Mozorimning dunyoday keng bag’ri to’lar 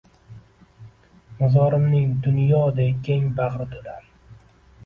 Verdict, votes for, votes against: rejected, 1, 2